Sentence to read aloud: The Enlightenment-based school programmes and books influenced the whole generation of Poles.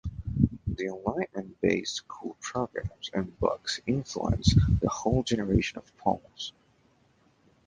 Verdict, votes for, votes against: accepted, 2, 0